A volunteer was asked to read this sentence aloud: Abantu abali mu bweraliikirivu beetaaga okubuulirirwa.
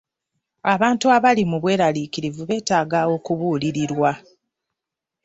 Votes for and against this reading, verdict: 2, 0, accepted